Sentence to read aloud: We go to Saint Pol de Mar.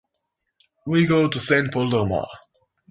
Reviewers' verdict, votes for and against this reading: accepted, 2, 0